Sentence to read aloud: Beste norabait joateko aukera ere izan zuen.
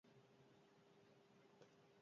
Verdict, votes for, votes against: rejected, 0, 2